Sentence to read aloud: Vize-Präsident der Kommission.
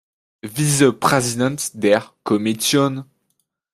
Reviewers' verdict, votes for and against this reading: rejected, 0, 2